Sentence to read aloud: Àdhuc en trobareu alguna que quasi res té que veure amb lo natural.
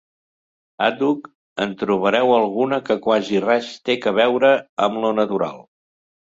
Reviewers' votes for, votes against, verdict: 3, 0, accepted